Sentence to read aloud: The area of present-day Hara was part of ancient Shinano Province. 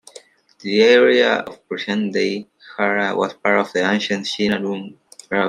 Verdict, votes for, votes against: rejected, 0, 2